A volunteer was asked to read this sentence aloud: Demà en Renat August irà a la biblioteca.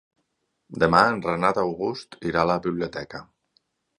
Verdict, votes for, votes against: accepted, 8, 0